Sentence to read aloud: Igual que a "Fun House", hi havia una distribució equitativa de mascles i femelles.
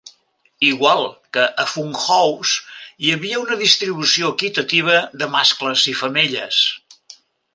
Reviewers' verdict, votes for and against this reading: accepted, 2, 0